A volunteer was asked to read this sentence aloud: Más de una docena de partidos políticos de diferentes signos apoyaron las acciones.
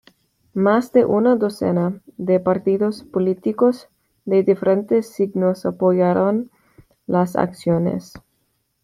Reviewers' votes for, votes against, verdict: 2, 0, accepted